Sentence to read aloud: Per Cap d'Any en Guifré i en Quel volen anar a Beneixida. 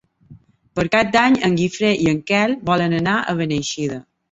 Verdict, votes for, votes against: accepted, 2, 0